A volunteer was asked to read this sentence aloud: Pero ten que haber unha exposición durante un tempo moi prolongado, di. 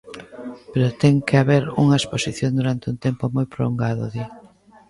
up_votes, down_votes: 0, 2